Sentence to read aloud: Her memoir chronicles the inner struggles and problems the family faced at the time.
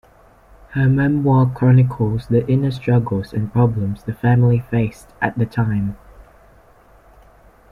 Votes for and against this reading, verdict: 2, 0, accepted